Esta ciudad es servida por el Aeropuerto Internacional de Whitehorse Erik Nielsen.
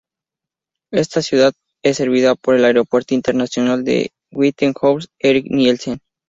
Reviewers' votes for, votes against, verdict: 2, 0, accepted